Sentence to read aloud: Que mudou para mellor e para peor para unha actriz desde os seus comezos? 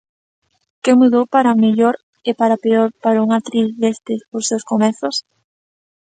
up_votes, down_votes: 2, 1